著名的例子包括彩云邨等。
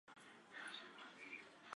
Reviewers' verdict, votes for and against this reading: rejected, 0, 4